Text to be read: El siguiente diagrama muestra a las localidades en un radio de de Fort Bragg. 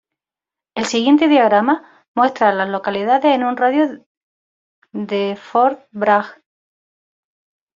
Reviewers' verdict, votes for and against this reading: rejected, 0, 2